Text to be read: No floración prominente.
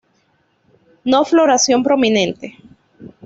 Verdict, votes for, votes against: accepted, 2, 0